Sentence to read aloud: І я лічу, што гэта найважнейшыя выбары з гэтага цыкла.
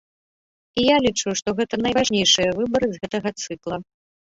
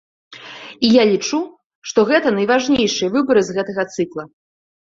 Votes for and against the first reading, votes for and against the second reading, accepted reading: 1, 2, 2, 0, second